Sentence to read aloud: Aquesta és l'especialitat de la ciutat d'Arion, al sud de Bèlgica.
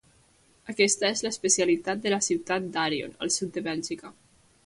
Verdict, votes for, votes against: accepted, 2, 0